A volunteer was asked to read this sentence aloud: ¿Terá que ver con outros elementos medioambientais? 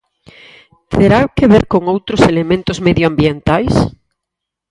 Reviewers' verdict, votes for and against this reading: accepted, 4, 0